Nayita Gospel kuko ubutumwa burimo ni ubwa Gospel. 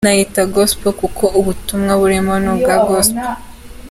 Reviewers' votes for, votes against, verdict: 2, 1, accepted